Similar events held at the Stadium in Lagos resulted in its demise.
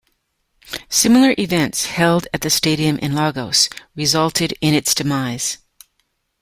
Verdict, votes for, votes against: accepted, 2, 0